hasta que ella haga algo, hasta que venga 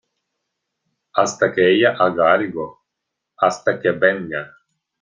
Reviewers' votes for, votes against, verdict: 2, 0, accepted